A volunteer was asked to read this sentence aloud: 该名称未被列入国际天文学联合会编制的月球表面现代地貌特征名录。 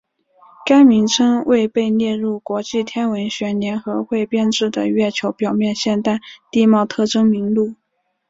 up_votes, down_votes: 5, 0